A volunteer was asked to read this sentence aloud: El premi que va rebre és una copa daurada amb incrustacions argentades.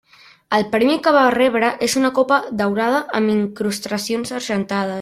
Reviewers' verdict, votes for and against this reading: rejected, 1, 2